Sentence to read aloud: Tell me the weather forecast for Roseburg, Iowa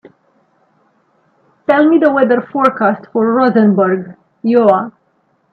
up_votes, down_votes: 0, 2